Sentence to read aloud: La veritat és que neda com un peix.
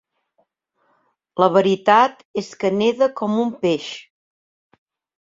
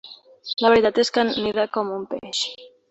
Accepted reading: first